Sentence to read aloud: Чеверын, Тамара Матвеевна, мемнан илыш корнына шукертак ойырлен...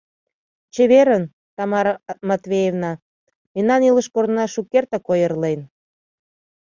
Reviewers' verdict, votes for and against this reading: rejected, 1, 2